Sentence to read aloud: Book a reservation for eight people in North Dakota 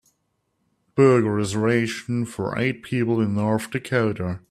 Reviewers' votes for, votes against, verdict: 1, 2, rejected